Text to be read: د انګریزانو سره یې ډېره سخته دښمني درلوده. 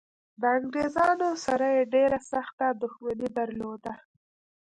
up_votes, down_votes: 0, 2